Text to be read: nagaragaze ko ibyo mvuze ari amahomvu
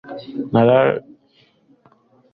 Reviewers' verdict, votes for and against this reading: accepted, 2, 1